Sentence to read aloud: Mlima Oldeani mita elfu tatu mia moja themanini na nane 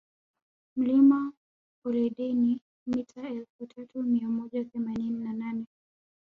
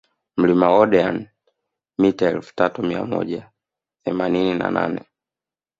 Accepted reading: second